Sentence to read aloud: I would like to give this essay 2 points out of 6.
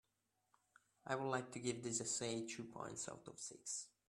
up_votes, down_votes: 0, 2